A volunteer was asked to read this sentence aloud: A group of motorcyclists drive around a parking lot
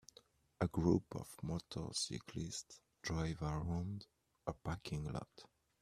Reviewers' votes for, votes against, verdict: 2, 0, accepted